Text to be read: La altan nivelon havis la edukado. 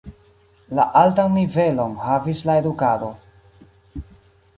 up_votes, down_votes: 2, 0